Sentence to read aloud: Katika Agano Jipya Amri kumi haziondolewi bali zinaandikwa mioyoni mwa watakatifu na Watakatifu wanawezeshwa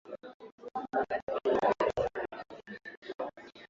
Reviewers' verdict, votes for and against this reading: rejected, 0, 3